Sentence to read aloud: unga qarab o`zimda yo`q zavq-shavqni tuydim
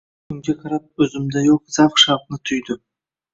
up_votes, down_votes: 1, 2